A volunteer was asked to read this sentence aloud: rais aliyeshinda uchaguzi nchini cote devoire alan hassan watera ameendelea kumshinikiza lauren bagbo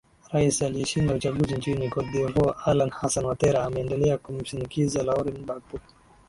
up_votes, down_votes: 2, 0